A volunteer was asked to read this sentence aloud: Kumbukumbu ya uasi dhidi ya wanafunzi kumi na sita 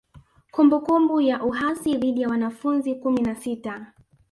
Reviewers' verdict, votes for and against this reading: rejected, 1, 2